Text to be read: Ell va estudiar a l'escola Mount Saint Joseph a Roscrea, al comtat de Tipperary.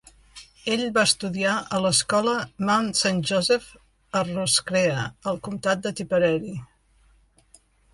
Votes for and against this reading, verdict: 0, 2, rejected